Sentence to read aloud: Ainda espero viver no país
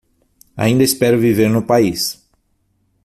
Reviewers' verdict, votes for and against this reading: accepted, 6, 0